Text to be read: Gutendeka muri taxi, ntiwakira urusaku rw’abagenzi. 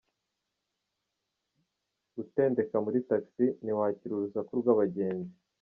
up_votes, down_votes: 2, 0